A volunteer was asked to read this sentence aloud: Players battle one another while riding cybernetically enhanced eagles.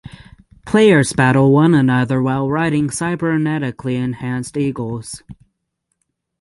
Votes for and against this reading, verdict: 6, 0, accepted